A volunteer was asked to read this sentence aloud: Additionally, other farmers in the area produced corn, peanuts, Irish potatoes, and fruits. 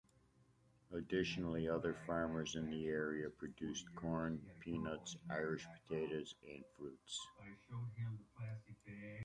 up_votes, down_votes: 2, 1